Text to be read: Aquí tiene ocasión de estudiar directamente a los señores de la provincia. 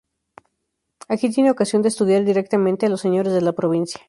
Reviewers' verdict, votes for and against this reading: accepted, 2, 0